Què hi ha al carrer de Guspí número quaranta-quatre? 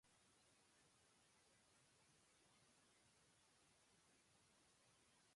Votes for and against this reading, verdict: 0, 2, rejected